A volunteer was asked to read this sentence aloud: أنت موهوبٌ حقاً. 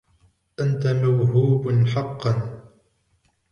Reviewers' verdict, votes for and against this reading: accepted, 2, 1